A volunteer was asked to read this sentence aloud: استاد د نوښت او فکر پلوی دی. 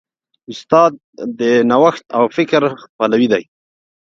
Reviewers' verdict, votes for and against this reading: rejected, 1, 2